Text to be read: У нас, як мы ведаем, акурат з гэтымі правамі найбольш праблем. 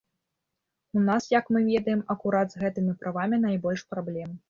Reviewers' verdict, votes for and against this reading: accepted, 3, 0